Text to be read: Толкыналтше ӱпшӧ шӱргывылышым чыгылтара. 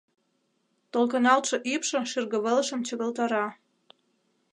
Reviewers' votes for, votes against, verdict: 2, 1, accepted